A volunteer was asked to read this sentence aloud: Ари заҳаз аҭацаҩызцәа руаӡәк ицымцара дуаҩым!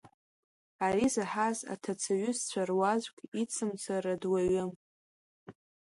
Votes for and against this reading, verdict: 1, 2, rejected